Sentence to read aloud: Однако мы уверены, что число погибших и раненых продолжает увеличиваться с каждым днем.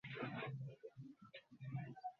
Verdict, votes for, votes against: rejected, 0, 2